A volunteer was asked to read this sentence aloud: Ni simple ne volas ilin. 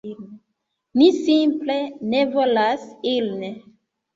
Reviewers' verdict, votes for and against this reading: rejected, 1, 2